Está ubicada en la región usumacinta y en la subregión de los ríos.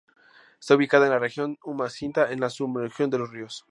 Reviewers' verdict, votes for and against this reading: rejected, 0, 2